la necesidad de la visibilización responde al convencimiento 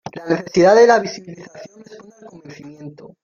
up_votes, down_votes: 0, 2